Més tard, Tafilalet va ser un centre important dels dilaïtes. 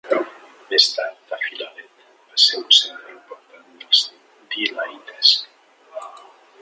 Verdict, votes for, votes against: rejected, 0, 2